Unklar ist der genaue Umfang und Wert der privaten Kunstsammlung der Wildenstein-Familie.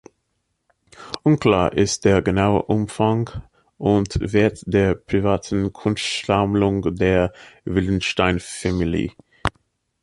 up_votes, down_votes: 0, 2